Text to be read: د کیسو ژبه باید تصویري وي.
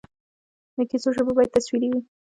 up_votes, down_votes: 0, 2